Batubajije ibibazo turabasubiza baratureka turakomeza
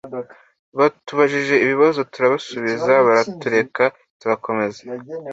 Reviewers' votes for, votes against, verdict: 2, 0, accepted